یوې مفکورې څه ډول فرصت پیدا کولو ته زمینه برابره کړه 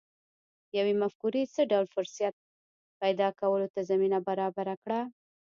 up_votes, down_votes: 2, 1